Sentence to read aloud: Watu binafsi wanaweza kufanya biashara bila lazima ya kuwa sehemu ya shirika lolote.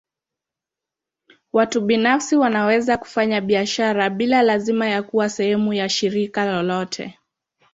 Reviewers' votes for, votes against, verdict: 2, 0, accepted